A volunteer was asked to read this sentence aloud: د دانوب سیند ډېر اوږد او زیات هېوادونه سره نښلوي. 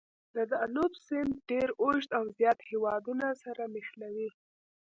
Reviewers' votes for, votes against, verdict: 2, 1, accepted